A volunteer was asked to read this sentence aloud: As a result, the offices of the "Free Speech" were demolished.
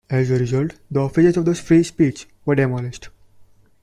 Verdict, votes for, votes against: accepted, 2, 1